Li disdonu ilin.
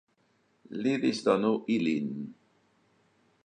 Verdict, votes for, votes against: accepted, 2, 1